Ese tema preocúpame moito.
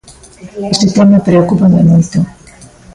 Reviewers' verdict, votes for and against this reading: accepted, 2, 1